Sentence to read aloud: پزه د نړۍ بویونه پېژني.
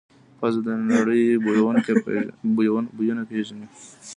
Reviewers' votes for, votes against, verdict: 1, 2, rejected